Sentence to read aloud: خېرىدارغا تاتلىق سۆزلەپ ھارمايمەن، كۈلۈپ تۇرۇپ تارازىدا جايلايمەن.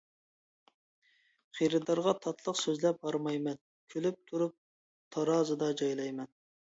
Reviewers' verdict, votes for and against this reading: accepted, 2, 0